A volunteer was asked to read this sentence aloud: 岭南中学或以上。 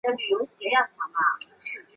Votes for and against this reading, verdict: 0, 2, rejected